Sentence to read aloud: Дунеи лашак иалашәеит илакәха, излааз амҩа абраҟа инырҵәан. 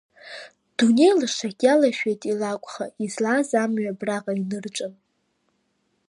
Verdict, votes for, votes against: rejected, 1, 2